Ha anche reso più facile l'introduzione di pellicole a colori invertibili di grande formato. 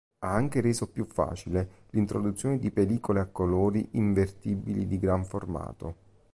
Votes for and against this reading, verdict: 1, 2, rejected